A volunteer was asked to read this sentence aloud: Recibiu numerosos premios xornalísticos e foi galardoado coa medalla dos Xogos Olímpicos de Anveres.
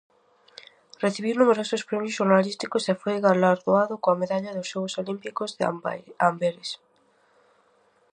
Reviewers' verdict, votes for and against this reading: rejected, 0, 2